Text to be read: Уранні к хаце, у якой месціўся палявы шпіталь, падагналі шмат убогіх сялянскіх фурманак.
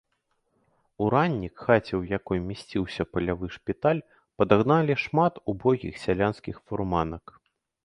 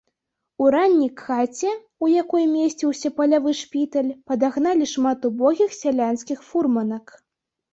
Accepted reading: first